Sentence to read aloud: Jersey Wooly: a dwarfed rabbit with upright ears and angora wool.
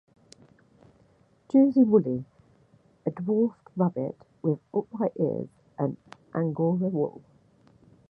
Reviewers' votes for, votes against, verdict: 1, 2, rejected